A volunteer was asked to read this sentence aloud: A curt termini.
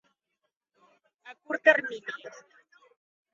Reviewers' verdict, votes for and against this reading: accepted, 2, 0